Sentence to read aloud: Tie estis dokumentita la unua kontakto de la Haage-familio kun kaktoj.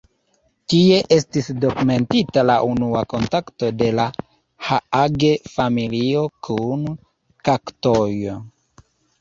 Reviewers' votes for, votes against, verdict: 2, 1, accepted